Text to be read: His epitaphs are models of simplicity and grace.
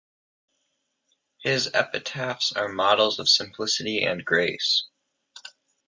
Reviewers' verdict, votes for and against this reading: accepted, 2, 0